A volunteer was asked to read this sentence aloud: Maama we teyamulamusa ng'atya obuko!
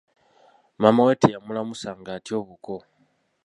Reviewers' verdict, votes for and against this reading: accepted, 2, 1